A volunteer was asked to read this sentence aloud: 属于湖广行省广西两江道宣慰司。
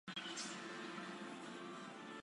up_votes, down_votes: 0, 2